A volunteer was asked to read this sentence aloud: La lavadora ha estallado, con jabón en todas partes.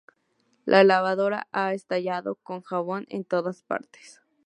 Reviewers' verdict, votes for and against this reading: accepted, 2, 0